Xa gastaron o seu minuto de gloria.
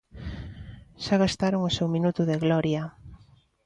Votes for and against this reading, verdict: 2, 0, accepted